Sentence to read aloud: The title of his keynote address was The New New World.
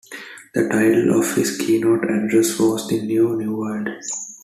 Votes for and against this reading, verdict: 2, 0, accepted